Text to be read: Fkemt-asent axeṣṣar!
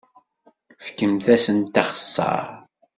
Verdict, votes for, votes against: accepted, 2, 0